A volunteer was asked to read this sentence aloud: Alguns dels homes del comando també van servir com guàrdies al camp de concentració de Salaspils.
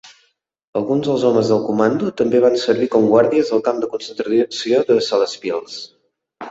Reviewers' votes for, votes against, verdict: 0, 2, rejected